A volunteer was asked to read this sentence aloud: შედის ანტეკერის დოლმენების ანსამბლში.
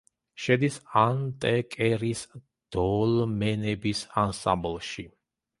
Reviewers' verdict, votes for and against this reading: rejected, 1, 2